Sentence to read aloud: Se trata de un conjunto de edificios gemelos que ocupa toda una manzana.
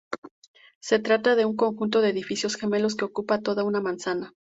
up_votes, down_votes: 4, 0